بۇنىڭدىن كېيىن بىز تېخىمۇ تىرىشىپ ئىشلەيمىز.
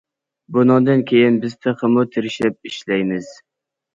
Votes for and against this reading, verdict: 2, 0, accepted